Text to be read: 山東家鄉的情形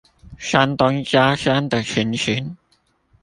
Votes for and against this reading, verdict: 1, 2, rejected